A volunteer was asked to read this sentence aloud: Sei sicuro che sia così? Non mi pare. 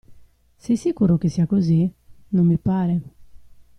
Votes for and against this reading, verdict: 2, 0, accepted